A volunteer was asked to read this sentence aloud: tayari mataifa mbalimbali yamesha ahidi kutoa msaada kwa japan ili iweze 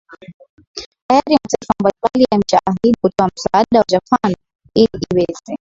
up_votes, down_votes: 2, 0